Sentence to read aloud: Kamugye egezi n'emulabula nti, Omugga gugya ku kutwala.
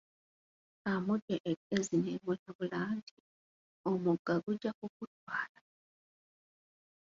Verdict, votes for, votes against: rejected, 1, 2